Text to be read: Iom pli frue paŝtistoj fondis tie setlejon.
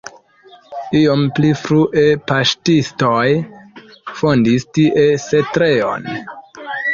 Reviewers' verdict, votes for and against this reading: accepted, 2, 1